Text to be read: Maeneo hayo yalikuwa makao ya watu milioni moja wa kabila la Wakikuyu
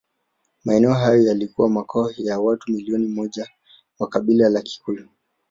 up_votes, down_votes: 1, 2